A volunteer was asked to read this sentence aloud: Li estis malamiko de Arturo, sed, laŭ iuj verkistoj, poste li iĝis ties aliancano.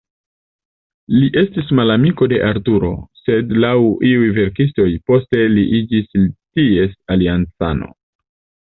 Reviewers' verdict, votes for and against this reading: accepted, 2, 0